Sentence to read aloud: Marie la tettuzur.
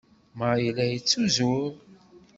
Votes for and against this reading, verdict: 1, 2, rejected